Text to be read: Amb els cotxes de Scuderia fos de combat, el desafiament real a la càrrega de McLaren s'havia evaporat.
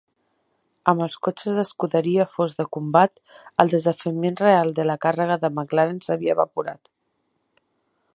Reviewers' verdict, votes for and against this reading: rejected, 1, 2